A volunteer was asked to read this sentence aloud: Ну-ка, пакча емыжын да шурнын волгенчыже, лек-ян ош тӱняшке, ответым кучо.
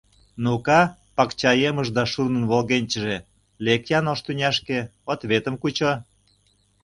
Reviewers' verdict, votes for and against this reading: rejected, 1, 2